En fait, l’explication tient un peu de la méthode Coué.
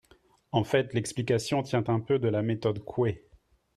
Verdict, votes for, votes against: accepted, 3, 0